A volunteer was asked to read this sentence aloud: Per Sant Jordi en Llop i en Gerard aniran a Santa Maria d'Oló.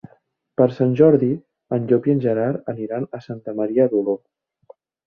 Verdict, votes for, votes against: accepted, 2, 0